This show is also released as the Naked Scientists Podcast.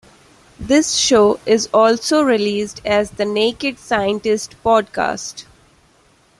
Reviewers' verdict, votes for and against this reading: accepted, 2, 1